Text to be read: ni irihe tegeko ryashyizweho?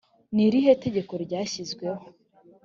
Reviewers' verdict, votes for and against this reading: accepted, 2, 0